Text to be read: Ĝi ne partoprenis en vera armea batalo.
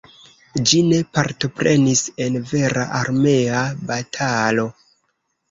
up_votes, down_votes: 2, 0